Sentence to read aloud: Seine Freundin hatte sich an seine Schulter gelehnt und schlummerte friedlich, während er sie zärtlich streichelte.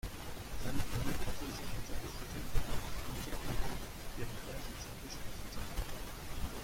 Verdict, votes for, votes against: rejected, 0, 2